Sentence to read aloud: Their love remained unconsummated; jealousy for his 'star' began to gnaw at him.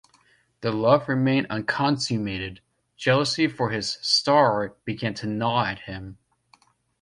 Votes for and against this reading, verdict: 2, 0, accepted